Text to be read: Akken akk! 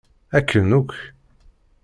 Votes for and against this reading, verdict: 2, 0, accepted